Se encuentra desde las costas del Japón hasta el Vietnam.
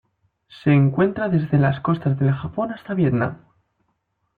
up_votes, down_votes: 0, 2